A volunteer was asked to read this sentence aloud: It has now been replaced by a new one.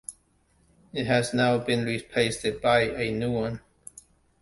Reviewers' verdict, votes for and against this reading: rejected, 1, 2